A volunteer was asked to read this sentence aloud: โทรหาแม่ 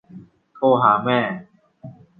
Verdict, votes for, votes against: rejected, 1, 2